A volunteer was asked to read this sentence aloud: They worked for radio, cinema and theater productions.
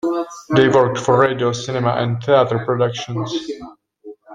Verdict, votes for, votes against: rejected, 0, 2